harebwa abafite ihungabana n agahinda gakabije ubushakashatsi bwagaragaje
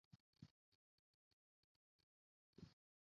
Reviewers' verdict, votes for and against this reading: rejected, 0, 2